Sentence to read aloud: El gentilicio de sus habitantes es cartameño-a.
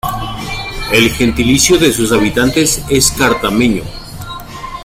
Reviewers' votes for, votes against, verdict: 2, 1, accepted